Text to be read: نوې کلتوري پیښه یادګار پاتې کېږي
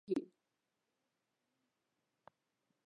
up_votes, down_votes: 0, 2